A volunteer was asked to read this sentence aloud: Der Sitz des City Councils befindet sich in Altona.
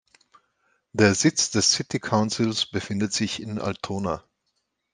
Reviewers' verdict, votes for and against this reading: accepted, 2, 0